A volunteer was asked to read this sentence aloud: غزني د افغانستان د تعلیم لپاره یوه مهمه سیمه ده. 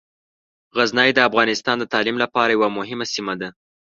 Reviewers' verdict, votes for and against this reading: accepted, 2, 0